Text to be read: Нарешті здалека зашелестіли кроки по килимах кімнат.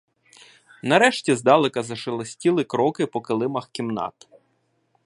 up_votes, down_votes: 0, 2